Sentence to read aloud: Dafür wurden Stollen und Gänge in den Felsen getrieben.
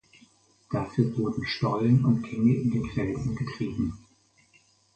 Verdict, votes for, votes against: accepted, 4, 0